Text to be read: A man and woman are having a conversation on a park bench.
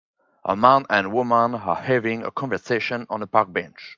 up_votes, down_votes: 4, 0